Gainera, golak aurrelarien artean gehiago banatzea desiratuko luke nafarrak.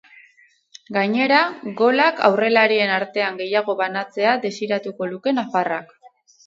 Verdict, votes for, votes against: rejected, 2, 4